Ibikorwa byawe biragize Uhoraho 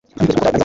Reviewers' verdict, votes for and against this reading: rejected, 1, 2